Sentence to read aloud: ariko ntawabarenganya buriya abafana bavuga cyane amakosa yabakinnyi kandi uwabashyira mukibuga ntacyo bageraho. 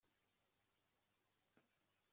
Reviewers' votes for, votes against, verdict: 0, 2, rejected